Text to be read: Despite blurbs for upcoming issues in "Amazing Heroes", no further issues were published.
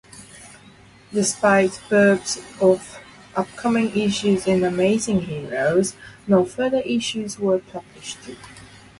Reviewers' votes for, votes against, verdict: 0, 4, rejected